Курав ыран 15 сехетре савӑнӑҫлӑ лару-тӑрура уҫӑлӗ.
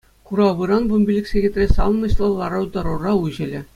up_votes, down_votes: 0, 2